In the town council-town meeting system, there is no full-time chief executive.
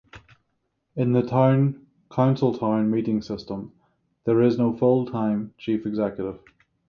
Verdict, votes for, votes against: rejected, 3, 3